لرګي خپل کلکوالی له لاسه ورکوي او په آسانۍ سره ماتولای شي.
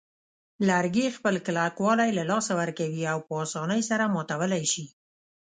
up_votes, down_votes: 2, 0